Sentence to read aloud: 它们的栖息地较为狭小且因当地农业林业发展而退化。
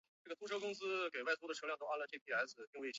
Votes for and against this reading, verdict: 1, 4, rejected